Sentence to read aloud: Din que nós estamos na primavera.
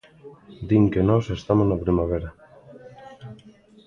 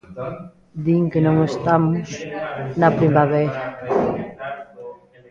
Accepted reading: first